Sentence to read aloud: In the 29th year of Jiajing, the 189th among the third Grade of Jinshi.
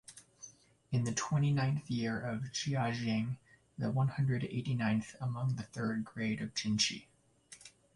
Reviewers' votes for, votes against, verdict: 0, 2, rejected